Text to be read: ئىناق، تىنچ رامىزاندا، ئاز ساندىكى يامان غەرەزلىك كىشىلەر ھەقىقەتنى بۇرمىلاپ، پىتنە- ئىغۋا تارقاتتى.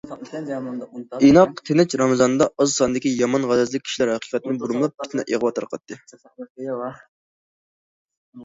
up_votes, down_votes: 2, 0